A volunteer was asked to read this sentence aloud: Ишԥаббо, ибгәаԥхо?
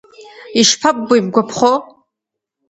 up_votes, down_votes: 1, 2